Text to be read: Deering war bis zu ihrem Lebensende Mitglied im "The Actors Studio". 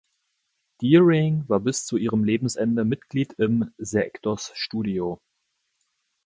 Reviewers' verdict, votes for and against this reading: rejected, 1, 2